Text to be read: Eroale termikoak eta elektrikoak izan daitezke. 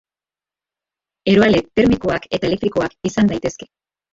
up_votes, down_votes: 1, 3